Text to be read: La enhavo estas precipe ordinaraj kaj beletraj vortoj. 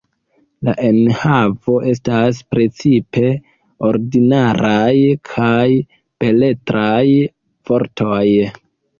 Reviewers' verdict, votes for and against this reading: rejected, 1, 2